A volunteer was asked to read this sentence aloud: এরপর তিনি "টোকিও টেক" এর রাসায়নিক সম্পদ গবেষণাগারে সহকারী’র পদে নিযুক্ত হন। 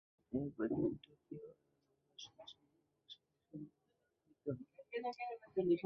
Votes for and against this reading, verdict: 0, 2, rejected